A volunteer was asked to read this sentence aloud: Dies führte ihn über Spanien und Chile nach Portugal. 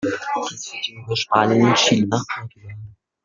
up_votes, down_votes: 0, 2